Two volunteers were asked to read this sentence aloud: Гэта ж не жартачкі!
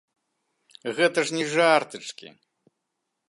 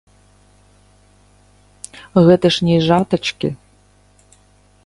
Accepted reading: first